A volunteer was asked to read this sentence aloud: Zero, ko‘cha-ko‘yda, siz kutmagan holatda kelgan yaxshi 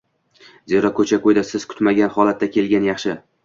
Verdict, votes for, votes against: accepted, 2, 0